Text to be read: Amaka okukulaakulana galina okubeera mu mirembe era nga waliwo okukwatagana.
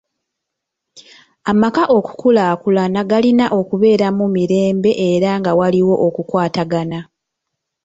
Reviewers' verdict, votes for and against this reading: accepted, 2, 0